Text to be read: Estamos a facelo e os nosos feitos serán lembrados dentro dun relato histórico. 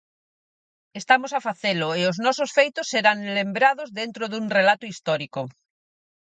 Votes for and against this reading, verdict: 4, 0, accepted